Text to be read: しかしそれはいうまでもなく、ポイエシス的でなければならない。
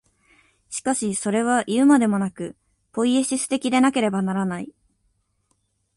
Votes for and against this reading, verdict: 2, 0, accepted